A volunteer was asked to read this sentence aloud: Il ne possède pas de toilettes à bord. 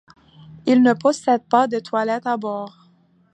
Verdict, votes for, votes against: accepted, 2, 0